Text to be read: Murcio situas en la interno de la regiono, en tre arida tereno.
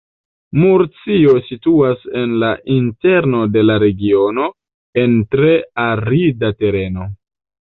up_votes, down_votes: 1, 2